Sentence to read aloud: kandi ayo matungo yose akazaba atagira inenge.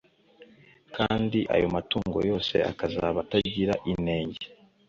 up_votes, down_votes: 2, 0